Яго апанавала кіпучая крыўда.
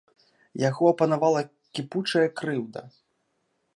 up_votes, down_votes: 2, 0